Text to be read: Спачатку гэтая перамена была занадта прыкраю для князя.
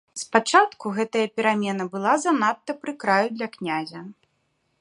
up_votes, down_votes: 0, 2